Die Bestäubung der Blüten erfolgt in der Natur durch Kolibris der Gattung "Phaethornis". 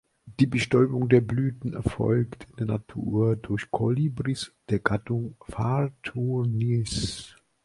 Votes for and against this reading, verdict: 1, 2, rejected